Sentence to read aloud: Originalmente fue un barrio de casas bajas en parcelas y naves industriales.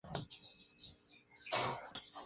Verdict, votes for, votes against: rejected, 0, 2